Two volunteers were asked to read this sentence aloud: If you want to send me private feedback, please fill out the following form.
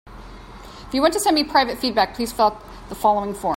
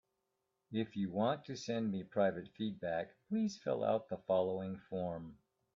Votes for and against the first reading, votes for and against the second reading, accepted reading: 2, 4, 2, 0, second